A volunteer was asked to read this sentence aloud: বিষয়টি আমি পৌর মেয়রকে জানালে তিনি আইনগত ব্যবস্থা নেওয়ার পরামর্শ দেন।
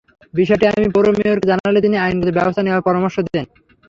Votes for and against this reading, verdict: 0, 3, rejected